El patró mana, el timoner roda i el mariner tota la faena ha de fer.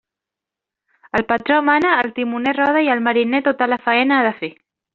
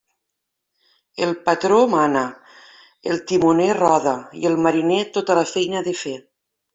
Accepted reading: first